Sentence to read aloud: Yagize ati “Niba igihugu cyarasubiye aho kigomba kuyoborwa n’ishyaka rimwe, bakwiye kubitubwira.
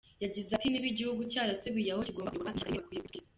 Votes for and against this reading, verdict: 0, 3, rejected